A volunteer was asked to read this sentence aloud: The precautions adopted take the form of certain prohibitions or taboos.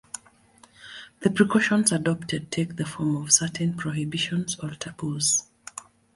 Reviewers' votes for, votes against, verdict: 2, 0, accepted